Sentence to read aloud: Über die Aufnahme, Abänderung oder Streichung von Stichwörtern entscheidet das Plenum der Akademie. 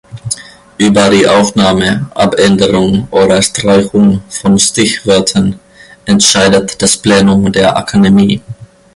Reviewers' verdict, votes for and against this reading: rejected, 1, 2